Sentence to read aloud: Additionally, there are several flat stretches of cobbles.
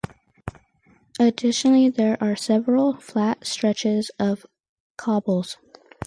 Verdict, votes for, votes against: accepted, 4, 0